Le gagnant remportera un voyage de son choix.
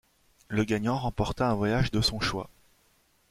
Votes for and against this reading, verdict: 0, 2, rejected